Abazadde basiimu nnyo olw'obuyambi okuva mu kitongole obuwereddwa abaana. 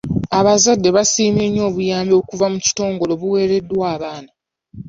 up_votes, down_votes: 0, 2